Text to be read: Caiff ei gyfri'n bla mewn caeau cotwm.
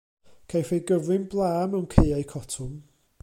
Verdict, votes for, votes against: accepted, 2, 0